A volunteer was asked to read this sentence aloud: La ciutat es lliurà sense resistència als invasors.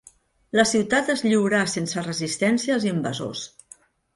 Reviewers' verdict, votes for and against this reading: accepted, 2, 0